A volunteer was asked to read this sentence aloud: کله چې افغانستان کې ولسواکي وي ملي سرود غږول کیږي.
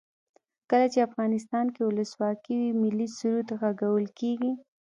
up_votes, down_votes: 2, 0